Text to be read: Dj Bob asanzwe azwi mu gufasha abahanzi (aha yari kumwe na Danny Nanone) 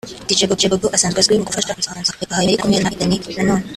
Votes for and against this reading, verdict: 1, 3, rejected